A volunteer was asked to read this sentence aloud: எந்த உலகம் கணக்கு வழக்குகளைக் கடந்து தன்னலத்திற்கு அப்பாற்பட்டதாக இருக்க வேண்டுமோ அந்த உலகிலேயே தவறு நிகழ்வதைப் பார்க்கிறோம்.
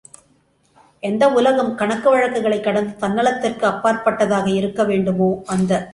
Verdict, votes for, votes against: rejected, 0, 2